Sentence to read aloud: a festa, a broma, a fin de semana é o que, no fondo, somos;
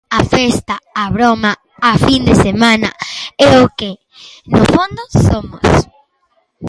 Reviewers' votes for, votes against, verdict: 2, 0, accepted